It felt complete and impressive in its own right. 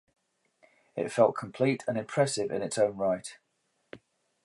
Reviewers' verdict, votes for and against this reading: accepted, 2, 0